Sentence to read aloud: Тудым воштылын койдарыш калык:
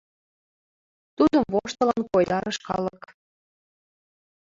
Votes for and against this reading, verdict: 0, 2, rejected